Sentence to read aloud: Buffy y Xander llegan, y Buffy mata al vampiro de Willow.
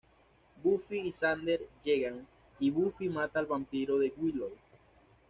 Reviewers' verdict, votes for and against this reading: accepted, 2, 0